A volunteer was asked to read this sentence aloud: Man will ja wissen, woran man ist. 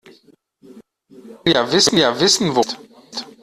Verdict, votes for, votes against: rejected, 0, 2